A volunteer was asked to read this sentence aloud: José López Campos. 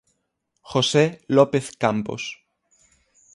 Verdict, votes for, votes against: accepted, 6, 0